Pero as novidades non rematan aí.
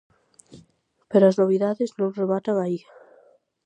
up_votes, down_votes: 2, 0